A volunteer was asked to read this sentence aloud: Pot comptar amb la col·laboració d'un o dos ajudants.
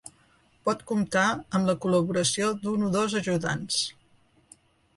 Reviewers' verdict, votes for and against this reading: rejected, 1, 3